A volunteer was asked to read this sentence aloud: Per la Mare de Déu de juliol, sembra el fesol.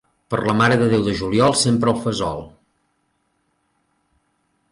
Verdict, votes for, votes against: rejected, 0, 2